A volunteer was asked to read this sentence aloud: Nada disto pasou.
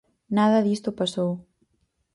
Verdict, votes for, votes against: accepted, 4, 0